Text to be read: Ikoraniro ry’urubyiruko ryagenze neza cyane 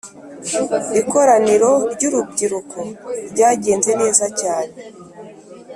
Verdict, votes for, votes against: accepted, 2, 0